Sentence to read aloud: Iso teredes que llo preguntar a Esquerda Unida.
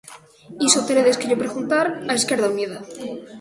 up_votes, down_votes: 2, 0